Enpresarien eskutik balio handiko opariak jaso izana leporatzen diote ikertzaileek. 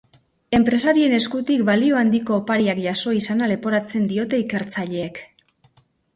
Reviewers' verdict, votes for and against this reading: accepted, 2, 0